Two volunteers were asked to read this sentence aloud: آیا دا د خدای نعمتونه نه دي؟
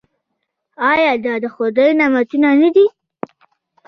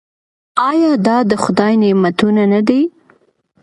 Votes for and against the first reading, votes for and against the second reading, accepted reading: 1, 2, 2, 0, second